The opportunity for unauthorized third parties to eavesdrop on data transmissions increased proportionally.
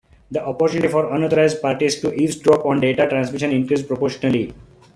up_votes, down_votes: 1, 2